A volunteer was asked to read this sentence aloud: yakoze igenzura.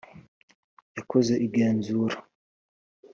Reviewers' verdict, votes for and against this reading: accepted, 4, 0